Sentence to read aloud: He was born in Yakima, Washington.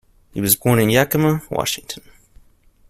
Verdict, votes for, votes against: accepted, 2, 0